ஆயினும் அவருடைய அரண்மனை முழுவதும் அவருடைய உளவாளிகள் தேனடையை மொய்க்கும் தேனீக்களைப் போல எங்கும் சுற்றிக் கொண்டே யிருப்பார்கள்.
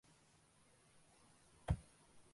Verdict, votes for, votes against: rejected, 0, 2